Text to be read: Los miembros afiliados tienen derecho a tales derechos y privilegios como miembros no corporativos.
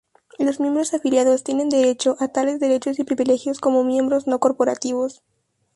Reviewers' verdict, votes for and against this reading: accepted, 4, 2